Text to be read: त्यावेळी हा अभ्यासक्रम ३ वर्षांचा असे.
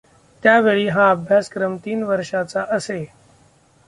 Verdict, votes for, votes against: rejected, 0, 2